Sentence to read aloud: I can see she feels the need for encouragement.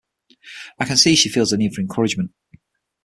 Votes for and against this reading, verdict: 6, 3, accepted